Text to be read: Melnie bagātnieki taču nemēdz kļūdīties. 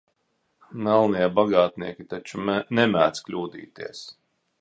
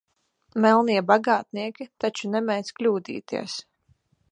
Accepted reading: second